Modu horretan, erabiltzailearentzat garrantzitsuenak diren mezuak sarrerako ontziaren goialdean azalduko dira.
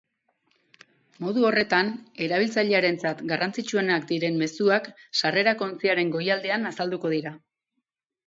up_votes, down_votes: 4, 0